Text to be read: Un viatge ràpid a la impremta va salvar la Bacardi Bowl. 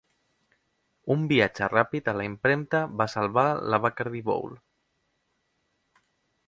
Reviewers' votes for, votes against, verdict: 3, 0, accepted